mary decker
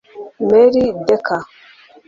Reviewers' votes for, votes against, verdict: 1, 2, rejected